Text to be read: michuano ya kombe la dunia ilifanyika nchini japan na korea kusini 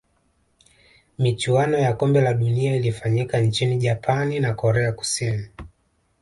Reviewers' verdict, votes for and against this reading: rejected, 1, 2